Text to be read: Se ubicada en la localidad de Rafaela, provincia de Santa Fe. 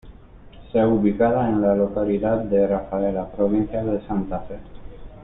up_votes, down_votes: 2, 1